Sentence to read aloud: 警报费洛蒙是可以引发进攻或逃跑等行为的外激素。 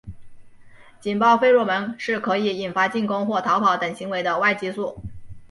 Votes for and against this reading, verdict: 2, 0, accepted